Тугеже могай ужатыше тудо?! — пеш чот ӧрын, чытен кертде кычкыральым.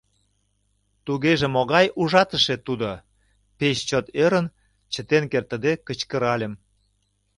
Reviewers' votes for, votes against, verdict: 1, 2, rejected